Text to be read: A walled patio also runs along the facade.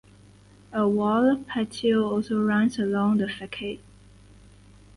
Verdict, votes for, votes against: accepted, 4, 0